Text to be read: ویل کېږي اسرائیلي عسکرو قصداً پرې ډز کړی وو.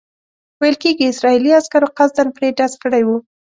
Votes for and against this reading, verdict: 2, 0, accepted